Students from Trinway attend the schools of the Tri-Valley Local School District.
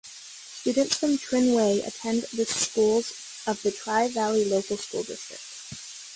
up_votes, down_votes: 2, 0